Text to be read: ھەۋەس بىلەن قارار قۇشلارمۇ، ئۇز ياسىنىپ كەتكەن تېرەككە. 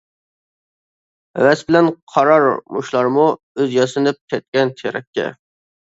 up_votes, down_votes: 0, 2